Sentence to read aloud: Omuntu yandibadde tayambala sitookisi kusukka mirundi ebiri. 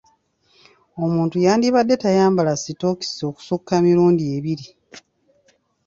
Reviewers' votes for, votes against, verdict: 1, 2, rejected